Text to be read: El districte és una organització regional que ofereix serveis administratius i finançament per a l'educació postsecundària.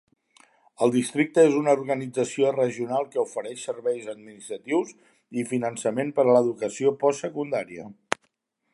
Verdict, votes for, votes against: accepted, 3, 0